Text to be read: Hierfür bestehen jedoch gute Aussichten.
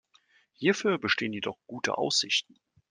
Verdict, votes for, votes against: accepted, 2, 0